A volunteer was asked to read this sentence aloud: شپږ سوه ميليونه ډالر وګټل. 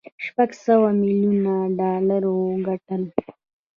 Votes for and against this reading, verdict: 1, 2, rejected